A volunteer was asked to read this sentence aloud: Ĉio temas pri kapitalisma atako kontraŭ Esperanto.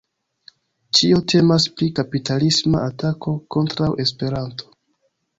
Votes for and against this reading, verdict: 2, 1, accepted